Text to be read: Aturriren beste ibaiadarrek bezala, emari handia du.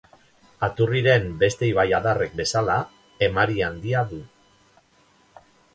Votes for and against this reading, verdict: 2, 0, accepted